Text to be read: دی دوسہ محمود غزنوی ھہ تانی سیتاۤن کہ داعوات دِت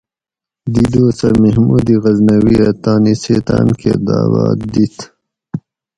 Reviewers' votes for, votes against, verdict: 4, 0, accepted